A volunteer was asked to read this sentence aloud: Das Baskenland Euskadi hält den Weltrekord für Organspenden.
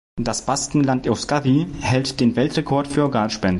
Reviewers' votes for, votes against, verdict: 0, 2, rejected